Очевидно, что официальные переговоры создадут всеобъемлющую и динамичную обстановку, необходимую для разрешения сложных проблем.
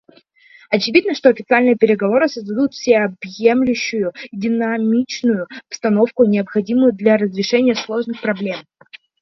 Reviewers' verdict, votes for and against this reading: rejected, 1, 2